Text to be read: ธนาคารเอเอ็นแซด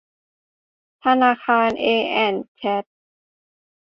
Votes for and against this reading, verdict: 0, 3, rejected